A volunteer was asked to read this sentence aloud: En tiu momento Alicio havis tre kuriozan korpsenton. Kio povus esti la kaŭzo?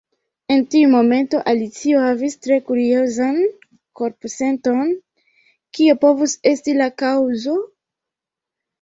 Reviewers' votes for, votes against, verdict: 0, 3, rejected